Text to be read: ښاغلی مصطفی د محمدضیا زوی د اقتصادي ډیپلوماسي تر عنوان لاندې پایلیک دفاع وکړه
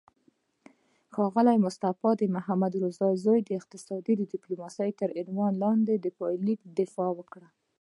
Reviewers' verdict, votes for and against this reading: accepted, 2, 1